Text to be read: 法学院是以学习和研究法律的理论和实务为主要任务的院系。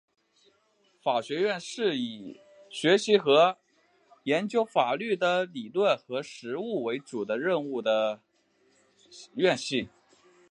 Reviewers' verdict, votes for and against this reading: accepted, 3, 0